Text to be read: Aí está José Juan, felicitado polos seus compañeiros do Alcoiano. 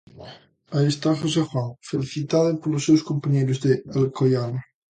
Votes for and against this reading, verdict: 1, 2, rejected